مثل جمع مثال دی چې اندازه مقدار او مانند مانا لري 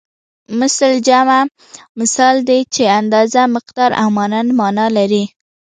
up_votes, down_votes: 2, 0